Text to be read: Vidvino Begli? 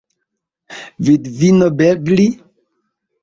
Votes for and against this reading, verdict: 0, 2, rejected